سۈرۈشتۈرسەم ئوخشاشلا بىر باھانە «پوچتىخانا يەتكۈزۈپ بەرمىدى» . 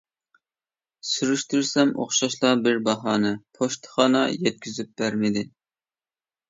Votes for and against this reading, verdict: 2, 0, accepted